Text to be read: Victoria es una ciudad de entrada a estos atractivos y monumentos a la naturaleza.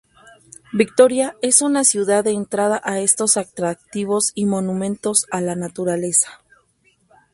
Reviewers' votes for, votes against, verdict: 2, 2, rejected